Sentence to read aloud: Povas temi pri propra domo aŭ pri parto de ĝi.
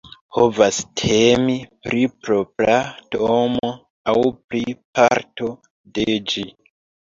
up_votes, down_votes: 1, 2